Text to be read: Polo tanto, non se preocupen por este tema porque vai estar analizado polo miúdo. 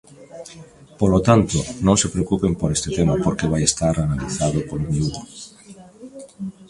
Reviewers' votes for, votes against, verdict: 0, 2, rejected